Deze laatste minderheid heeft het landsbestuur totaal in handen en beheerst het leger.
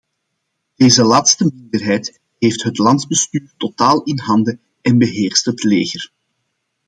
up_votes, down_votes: 2, 0